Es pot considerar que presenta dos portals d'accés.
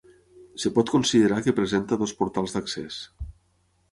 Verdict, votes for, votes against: rejected, 0, 6